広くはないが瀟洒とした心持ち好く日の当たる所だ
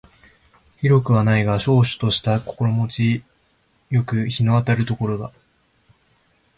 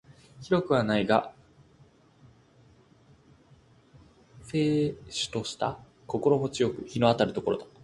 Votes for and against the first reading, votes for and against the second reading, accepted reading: 2, 0, 0, 2, first